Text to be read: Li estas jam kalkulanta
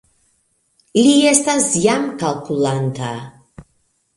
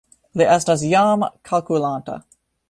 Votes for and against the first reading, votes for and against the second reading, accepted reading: 2, 0, 1, 2, first